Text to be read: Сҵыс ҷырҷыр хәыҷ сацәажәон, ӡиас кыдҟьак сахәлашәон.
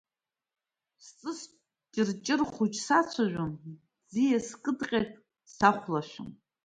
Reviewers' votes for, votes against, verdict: 2, 1, accepted